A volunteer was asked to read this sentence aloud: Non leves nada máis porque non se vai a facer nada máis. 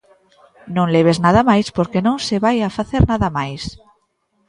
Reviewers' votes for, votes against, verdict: 2, 0, accepted